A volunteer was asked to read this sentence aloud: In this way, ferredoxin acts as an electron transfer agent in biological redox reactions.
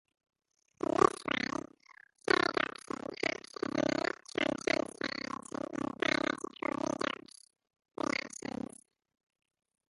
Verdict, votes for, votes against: rejected, 0, 2